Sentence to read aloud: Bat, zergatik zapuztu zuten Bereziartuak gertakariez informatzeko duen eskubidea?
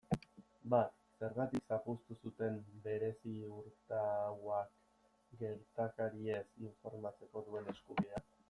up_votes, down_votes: 1, 2